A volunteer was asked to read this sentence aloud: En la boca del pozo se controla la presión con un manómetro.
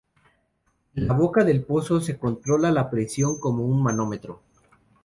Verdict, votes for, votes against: rejected, 0, 2